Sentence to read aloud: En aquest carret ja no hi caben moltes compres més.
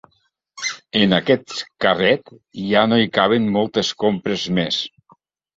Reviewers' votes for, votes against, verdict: 3, 0, accepted